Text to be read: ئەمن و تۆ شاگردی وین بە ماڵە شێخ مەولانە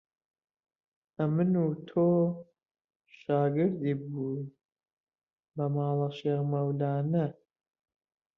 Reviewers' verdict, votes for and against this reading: rejected, 0, 2